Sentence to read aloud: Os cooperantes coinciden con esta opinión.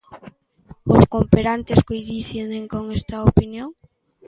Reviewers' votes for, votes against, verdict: 0, 2, rejected